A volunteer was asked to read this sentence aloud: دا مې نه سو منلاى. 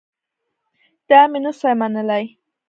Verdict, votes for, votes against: rejected, 0, 2